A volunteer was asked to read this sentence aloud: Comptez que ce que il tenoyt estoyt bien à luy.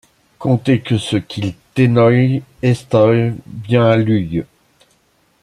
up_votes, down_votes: 2, 0